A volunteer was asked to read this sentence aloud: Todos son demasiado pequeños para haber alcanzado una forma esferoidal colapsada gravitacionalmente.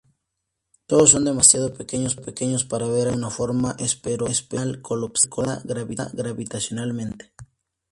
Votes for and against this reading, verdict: 0, 2, rejected